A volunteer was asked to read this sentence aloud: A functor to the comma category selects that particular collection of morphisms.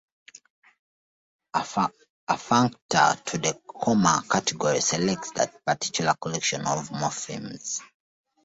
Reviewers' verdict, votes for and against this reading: rejected, 1, 2